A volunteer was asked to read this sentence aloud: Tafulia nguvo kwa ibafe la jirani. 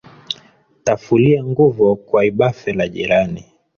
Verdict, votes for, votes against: accepted, 3, 1